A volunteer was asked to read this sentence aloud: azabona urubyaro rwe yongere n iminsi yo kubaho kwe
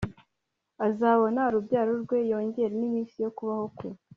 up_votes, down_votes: 2, 0